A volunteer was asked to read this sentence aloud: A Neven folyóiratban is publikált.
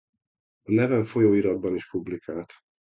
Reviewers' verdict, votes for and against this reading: rejected, 1, 2